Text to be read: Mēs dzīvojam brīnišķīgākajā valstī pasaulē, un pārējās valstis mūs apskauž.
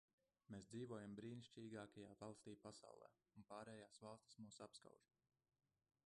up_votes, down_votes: 0, 2